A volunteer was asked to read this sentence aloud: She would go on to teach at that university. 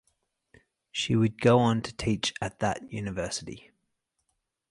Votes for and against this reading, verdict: 4, 0, accepted